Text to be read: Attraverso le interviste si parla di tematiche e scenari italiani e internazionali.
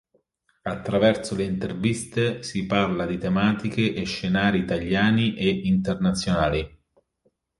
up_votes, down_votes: 2, 0